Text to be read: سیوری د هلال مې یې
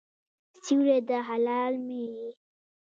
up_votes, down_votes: 1, 2